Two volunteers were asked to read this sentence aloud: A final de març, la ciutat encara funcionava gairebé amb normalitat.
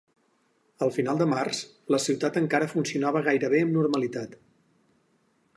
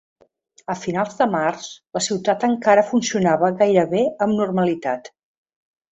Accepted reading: first